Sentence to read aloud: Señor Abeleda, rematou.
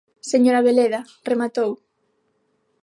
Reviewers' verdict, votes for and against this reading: accepted, 6, 0